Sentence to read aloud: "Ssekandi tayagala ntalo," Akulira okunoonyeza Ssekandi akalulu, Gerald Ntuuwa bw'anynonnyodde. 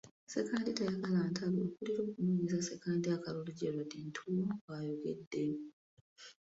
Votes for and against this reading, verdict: 0, 2, rejected